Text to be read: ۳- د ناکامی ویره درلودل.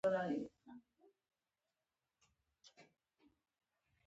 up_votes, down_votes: 0, 2